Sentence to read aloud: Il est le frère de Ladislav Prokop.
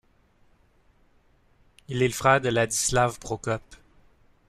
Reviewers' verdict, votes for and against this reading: rejected, 1, 2